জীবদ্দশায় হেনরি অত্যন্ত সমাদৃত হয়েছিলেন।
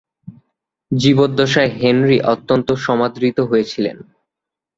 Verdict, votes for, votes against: accepted, 4, 0